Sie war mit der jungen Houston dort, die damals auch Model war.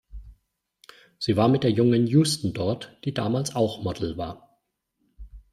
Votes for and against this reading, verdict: 2, 0, accepted